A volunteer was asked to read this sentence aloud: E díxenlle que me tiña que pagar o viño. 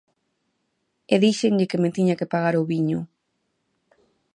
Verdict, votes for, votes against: accepted, 2, 0